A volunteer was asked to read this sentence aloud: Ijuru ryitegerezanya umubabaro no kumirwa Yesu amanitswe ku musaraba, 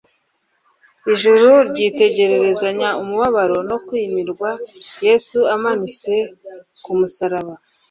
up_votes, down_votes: 2, 0